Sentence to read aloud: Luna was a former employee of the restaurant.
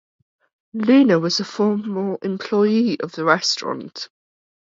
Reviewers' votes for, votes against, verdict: 4, 0, accepted